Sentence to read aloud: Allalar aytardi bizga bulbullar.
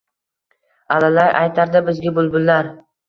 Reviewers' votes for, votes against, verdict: 1, 2, rejected